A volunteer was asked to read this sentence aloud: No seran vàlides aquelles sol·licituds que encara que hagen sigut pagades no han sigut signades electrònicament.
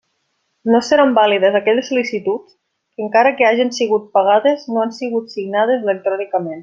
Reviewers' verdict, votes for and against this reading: accepted, 2, 0